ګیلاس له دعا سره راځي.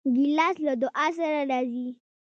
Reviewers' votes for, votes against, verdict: 1, 2, rejected